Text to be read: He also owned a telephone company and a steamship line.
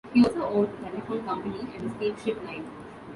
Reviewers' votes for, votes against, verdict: 1, 2, rejected